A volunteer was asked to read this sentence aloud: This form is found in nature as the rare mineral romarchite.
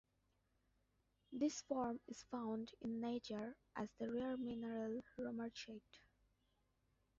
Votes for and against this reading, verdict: 2, 1, accepted